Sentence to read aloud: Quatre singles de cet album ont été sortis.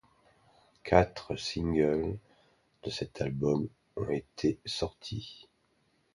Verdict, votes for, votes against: accepted, 2, 0